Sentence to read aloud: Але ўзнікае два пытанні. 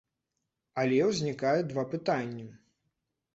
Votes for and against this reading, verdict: 3, 0, accepted